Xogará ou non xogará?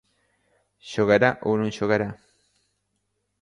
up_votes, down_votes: 2, 0